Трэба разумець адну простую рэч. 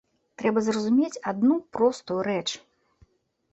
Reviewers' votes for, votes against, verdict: 0, 2, rejected